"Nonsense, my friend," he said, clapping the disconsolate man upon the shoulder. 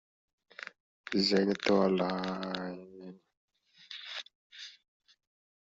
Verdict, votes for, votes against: rejected, 0, 2